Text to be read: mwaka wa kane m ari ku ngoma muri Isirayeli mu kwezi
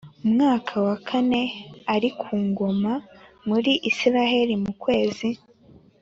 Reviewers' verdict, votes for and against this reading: accepted, 2, 1